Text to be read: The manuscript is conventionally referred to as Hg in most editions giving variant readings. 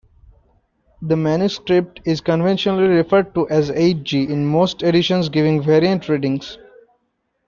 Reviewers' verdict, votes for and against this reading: accepted, 2, 1